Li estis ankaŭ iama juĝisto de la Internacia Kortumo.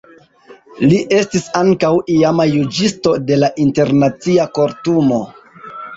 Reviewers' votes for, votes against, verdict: 2, 0, accepted